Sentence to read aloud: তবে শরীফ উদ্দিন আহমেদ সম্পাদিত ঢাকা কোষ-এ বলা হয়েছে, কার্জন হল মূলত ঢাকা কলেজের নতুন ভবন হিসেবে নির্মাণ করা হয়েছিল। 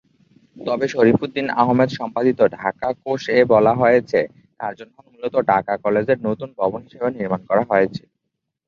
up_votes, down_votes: 0, 2